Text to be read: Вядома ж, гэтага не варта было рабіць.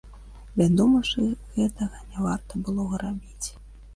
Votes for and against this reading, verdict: 0, 2, rejected